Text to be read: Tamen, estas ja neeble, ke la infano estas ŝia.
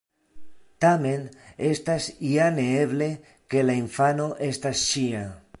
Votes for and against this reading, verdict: 2, 0, accepted